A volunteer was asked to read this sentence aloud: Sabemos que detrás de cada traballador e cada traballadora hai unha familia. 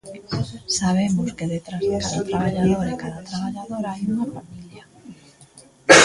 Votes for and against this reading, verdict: 0, 2, rejected